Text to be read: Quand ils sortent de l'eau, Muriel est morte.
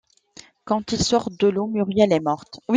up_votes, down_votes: 2, 1